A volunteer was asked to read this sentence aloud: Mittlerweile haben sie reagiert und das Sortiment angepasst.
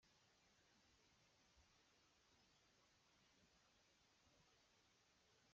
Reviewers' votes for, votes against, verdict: 0, 2, rejected